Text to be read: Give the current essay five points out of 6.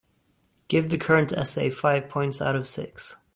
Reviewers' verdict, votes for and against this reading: rejected, 0, 2